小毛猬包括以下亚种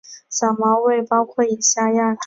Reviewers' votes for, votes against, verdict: 2, 1, accepted